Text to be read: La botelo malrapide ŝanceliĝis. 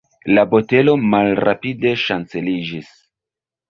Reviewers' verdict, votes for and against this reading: accepted, 2, 1